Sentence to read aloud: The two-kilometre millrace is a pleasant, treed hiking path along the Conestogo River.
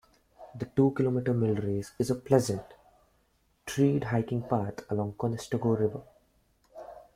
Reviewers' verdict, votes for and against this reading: accepted, 4, 1